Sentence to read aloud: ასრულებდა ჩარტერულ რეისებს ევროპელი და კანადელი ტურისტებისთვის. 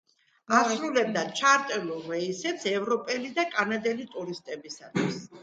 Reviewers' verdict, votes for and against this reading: accepted, 2, 1